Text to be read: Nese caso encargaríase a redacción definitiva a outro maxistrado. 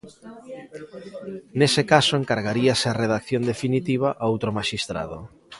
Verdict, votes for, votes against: accepted, 2, 0